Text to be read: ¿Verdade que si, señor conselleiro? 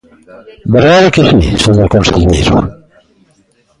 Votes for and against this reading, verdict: 1, 2, rejected